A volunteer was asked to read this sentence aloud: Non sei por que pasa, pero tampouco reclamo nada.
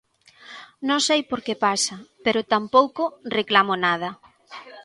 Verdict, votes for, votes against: accepted, 2, 0